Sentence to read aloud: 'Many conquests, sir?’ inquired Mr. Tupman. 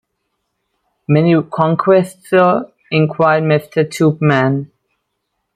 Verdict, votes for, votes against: accepted, 2, 0